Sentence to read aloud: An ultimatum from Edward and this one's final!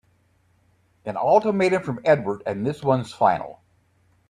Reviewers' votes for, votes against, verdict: 2, 0, accepted